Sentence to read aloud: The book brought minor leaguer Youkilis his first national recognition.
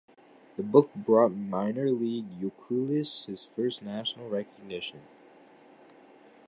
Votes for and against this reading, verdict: 0, 2, rejected